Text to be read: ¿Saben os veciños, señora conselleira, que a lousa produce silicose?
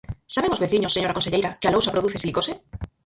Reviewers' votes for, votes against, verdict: 0, 4, rejected